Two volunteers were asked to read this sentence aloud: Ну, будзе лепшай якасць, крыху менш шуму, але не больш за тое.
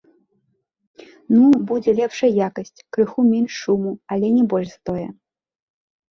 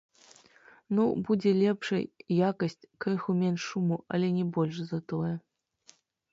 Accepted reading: first